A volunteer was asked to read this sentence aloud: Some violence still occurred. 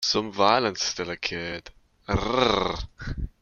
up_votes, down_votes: 0, 2